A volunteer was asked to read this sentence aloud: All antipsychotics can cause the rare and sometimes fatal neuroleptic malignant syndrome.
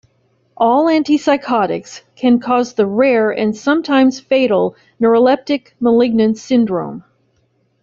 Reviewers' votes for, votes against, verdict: 2, 0, accepted